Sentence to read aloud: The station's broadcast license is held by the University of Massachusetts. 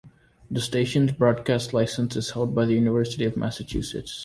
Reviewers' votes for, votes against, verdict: 2, 0, accepted